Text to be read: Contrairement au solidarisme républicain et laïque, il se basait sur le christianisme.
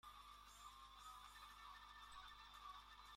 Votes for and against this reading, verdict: 0, 2, rejected